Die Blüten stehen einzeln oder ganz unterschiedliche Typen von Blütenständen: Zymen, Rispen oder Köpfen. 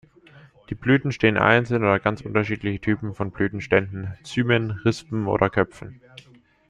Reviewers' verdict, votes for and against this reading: accepted, 2, 0